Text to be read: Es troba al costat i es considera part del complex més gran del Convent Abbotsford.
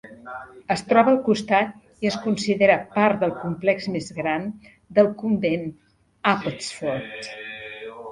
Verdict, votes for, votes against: accepted, 2, 1